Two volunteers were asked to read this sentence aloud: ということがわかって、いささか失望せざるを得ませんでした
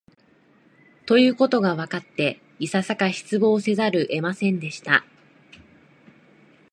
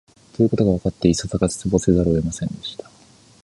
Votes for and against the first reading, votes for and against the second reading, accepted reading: 2, 0, 0, 2, first